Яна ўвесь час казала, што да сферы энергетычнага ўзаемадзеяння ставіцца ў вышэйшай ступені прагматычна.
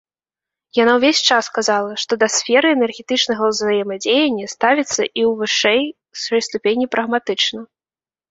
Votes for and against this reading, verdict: 0, 2, rejected